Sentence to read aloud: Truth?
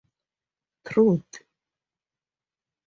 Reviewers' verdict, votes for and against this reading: rejected, 0, 2